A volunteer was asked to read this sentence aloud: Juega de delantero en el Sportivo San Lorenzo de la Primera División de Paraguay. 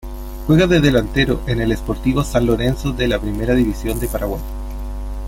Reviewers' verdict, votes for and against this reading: accepted, 2, 0